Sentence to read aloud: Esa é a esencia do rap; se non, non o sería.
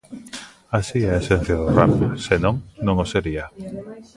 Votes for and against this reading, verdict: 0, 2, rejected